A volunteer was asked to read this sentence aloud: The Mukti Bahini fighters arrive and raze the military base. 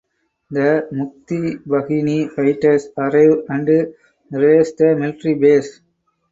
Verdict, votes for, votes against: rejected, 0, 6